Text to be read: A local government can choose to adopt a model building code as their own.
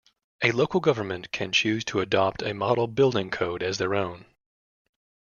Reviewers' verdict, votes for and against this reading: accepted, 2, 0